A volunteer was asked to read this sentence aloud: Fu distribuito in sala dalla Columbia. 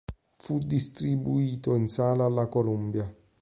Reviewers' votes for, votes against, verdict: 0, 2, rejected